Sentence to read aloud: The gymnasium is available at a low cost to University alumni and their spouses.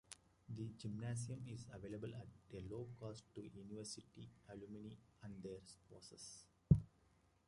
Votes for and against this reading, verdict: 2, 1, accepted